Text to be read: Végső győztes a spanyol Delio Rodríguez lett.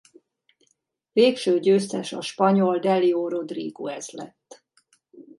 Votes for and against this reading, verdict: 0, 2, rejected